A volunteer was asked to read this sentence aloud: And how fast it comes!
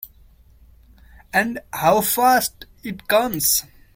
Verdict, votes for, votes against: accepted, 2, 0